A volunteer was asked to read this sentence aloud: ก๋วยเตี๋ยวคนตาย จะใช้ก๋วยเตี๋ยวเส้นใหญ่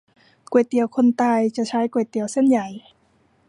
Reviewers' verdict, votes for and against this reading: accepted, 2, 0